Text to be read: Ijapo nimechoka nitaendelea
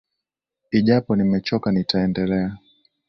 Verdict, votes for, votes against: rejected, 1, 2